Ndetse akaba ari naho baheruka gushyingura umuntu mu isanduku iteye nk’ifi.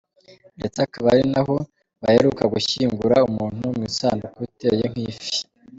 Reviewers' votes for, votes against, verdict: 2, 0, accepted